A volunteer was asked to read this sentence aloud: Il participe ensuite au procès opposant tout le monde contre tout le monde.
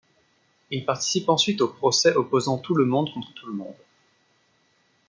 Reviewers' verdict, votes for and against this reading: accepted, 2, 0